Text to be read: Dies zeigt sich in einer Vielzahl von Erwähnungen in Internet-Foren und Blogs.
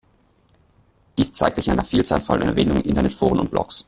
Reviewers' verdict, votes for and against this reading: rejected, 0, 2